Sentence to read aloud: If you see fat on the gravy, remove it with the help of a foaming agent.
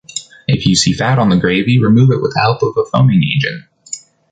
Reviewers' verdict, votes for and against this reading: rejected, 1, 2